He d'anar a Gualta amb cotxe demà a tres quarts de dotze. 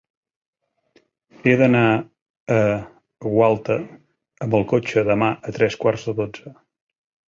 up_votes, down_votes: 0, 2